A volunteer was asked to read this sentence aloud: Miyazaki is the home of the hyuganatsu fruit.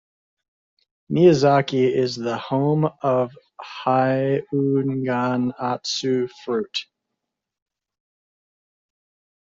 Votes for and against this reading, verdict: 0, 2, rejected